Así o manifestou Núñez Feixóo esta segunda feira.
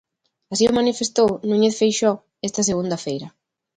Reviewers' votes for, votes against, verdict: 2, 0, accepted